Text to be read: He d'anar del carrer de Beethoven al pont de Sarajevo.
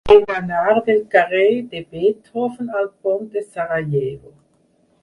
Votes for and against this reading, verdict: 2, 4, rejected